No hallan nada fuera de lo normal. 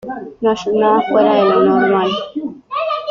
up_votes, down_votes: 0, 3